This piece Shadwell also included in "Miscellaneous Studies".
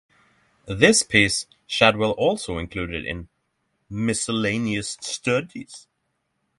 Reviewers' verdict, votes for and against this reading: accepted, 6, 0